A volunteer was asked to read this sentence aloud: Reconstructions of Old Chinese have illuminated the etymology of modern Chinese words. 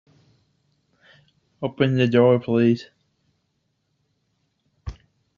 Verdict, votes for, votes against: rejected, 0, 2